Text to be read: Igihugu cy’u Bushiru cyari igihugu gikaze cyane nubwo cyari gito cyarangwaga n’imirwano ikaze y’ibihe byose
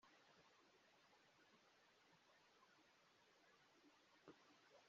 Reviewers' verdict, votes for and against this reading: rejected, 0, 2